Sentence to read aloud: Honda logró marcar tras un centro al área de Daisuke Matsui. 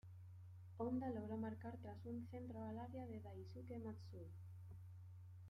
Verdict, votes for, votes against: accepted, 2, 0